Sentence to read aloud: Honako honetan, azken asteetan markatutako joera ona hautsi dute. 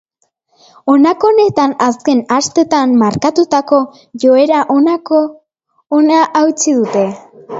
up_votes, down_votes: 0, 2